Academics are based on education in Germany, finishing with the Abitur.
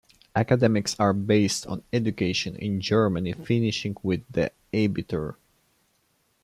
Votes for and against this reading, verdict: 2, 1, accepted